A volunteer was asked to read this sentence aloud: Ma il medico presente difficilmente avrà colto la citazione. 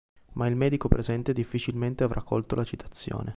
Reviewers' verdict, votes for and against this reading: accepted, 2, 0